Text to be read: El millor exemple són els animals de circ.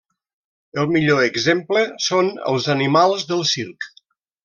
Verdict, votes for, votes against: rejected, 1, 2